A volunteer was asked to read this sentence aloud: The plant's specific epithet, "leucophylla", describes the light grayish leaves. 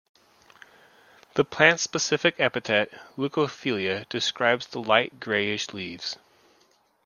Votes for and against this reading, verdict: 0, 2, rejected